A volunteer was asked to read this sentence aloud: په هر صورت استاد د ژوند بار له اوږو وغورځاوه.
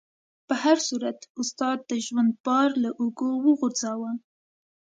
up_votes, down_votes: 2, 0